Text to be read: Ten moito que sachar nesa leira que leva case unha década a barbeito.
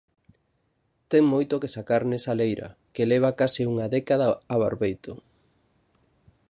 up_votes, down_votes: 1, 2